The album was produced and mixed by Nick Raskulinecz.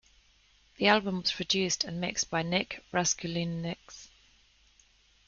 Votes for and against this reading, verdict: 0, 2, rejected